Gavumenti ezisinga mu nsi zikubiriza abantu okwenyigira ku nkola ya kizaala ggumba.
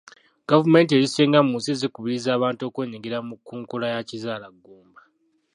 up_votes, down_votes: 0, 2